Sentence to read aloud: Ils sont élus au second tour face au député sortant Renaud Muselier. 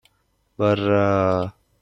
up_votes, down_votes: 0, 2